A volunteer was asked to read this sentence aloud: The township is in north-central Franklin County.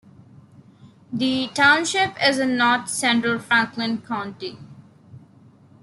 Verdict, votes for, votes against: accepted, 2, 1